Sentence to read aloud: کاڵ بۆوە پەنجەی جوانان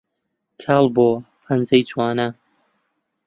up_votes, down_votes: 2, 0